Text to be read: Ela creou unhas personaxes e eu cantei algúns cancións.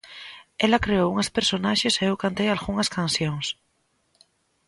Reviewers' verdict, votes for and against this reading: rejected, 0, 2